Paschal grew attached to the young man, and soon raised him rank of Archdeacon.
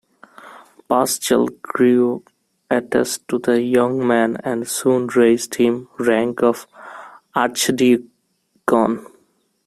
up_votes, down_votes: 0, 2